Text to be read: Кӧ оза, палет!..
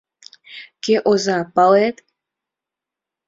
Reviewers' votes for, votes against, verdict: 4, 1, accepted